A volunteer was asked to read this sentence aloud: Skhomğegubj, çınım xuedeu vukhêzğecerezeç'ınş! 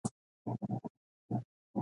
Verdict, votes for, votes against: rejected, 0, 2